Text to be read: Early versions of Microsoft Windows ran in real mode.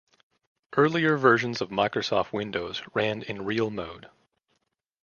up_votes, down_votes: 1, 2